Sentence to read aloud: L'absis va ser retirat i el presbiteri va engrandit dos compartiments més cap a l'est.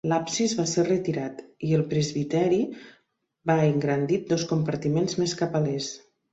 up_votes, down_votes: 2, 0